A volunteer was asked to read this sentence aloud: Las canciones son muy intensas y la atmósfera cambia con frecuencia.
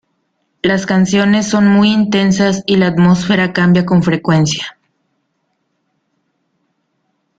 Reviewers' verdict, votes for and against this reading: accepted, 2, 0